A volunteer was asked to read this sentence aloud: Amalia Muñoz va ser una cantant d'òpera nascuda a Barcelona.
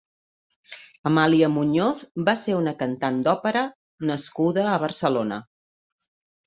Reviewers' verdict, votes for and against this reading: accepted, 3, 0